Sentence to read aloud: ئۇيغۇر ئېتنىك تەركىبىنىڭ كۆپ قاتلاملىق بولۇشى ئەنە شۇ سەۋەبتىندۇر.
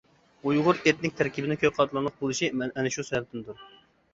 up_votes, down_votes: 0, 2